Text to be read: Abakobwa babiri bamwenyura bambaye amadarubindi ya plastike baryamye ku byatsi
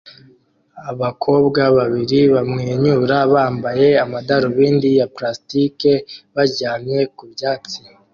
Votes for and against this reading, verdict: 2, 0, accepted